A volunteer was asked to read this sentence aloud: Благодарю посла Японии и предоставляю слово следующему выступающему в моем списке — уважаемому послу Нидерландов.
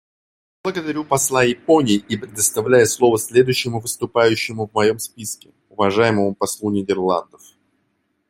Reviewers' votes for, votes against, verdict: 2, 0, accepted